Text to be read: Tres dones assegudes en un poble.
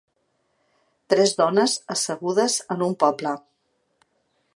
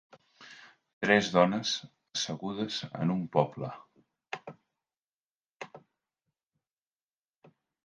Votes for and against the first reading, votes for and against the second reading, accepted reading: 2, 0, 1, 2, first